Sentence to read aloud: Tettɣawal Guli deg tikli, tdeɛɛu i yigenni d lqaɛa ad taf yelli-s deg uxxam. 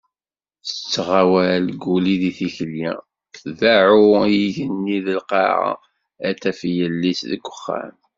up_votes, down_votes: 2, 0